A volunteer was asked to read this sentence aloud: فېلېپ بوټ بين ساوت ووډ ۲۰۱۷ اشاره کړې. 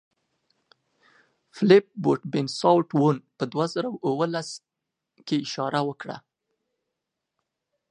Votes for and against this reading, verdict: 0, 2, rejected